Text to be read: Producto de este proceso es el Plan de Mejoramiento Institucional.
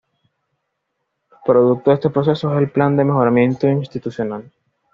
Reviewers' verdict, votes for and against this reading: accepted, 2, 0